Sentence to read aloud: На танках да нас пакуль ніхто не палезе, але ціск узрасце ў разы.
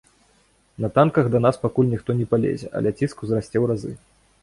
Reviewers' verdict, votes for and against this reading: accepted, 2, 0